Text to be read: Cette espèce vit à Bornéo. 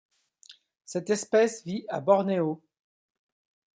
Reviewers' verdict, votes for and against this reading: accepted, 2, 0